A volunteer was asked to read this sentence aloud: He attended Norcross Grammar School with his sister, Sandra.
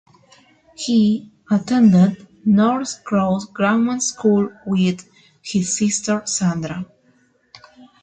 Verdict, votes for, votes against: accepted, 2, 0